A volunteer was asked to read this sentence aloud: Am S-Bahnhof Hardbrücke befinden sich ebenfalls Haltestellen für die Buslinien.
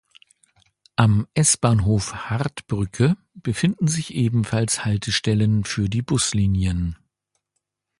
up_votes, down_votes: 3, 0